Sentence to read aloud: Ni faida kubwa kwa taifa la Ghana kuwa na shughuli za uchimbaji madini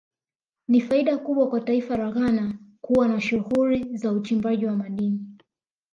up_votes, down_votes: 2, 1